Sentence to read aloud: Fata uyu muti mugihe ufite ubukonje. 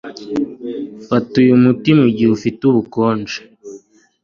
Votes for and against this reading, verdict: 2, 0, accepted